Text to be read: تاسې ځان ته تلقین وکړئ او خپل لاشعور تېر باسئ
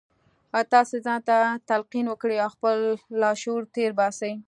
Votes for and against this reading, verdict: 2, 0, accepted